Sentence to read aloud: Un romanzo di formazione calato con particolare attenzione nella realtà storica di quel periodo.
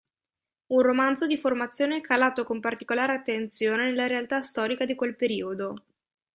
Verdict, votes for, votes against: accepted, 2, 0